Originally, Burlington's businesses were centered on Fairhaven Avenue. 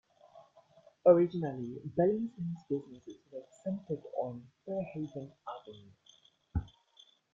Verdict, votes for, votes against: rejected, 1, 2